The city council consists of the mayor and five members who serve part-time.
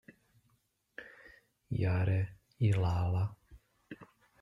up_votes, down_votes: 0, 2